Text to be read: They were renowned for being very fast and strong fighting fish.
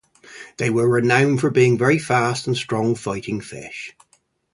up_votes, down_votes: 2, 2